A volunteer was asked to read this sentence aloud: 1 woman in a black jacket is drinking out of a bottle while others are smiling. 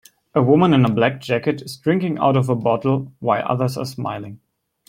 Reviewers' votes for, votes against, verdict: 0, 2, rejected